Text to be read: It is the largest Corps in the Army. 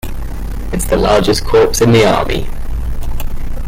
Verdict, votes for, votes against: accepted, 2, 0